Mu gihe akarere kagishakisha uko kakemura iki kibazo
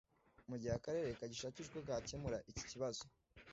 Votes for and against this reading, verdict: 2, 0, accepted